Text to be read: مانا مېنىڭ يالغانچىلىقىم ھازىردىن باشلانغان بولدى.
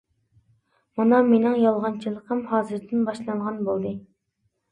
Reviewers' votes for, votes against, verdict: 2, 0, accepted